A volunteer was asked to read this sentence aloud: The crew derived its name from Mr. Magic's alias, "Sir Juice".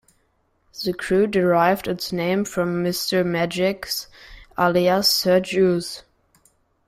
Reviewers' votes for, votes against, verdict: 1, 2, rejected